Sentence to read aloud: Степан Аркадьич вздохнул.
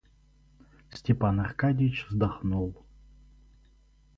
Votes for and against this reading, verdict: 0, 2, rejected